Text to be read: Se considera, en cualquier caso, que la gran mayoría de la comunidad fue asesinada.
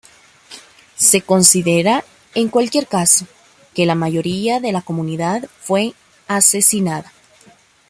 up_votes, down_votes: 0, 2